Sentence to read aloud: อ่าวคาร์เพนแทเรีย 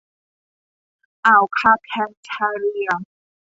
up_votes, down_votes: 1, 2